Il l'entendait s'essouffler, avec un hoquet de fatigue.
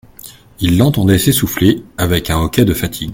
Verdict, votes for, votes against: accepted, 2, 0